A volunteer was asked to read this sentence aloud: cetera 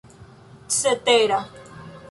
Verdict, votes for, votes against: rejected, 1, 2